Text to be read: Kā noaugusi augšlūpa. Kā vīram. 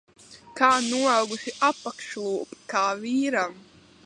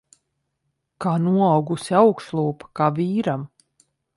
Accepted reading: second